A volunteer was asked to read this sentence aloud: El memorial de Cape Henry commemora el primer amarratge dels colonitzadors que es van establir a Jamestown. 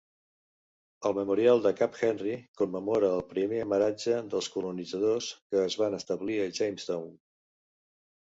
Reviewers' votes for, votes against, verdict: 1, 2, rejected